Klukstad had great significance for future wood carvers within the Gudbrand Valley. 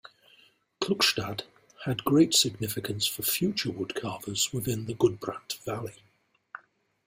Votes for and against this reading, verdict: 2, 0, accepted